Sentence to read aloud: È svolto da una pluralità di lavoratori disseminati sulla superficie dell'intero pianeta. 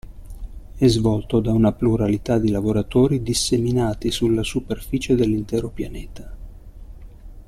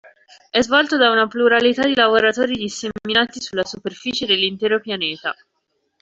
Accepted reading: first